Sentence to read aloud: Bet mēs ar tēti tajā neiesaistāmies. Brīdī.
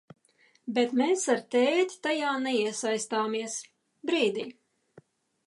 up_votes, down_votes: 2, 0